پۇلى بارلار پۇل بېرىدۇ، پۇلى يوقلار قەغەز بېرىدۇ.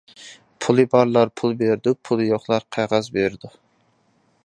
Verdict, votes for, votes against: accepted, 2, 0